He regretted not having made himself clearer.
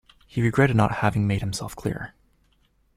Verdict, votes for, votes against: accepted, 2, 0